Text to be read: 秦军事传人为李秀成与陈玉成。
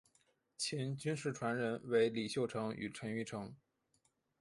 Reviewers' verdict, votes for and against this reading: accepted, 2, 0